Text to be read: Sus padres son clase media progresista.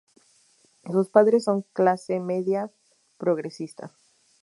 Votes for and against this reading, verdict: 2, 2, rejected